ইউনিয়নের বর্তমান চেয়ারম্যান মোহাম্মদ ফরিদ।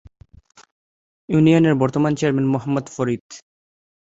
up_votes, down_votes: 2, 0